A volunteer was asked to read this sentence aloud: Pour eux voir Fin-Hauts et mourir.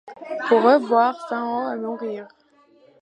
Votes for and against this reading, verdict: 2, 1, accepted